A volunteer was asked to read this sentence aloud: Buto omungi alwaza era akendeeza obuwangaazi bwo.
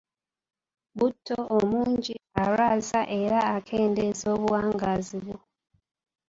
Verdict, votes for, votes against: accepted, 2, 0